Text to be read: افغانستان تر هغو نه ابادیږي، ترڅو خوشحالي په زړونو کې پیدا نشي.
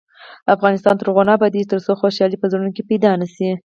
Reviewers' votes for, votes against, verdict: 4, 0, accepted